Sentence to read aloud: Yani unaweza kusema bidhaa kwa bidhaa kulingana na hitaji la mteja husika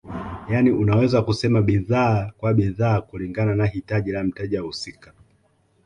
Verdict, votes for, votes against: accepted, 2, 0